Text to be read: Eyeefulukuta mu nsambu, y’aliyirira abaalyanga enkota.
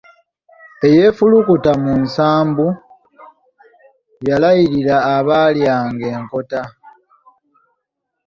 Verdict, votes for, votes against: rejected, 1, 2